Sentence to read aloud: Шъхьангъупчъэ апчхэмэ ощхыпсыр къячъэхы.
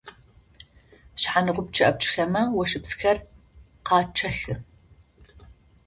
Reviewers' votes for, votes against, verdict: 0, 2, rejected